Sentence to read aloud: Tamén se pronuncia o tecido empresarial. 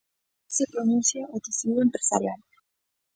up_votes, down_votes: 0, 2